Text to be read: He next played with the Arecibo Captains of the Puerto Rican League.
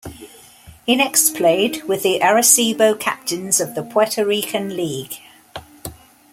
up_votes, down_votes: 2, 0